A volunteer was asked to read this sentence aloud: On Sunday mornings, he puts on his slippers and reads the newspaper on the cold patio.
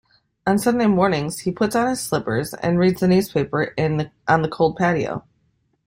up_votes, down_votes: 0, 2